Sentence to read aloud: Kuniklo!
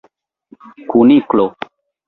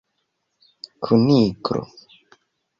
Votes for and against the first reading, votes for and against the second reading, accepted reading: 2, 0, 1, 2, first